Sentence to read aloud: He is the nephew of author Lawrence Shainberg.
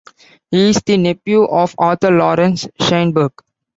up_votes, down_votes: 1, 2